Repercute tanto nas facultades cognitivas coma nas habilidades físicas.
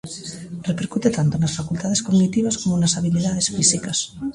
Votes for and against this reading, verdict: 0, 2, rejected